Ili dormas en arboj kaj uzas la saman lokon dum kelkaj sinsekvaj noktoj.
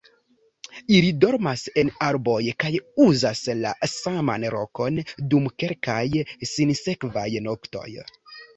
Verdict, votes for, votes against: rejected, 1, 2